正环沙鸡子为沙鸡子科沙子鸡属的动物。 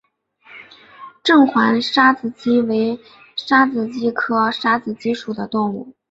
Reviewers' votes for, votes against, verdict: 3, 0, accepted